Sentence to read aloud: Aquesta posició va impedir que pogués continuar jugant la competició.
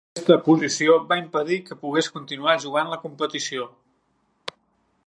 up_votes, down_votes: 1, 2